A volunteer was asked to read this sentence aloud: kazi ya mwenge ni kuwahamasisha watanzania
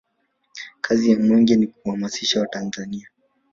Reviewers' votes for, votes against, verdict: 0, 2, rejected